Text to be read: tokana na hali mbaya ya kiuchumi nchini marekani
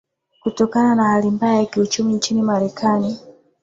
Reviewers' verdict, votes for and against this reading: accepted, 8, 0